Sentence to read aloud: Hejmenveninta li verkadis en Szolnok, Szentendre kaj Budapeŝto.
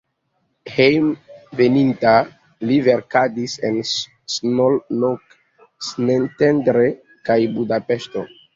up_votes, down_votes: 2, 0